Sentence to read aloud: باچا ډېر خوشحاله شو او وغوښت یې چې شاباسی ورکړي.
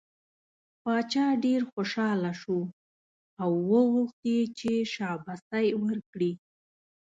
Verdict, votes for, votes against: accepted, 2, 0